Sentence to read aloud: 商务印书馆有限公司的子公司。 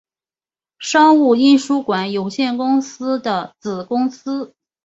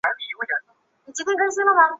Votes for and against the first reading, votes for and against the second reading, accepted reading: 2, 0, 0, 4, first